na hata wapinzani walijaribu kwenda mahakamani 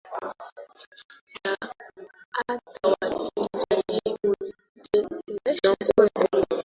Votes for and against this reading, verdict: 0, 2, rejected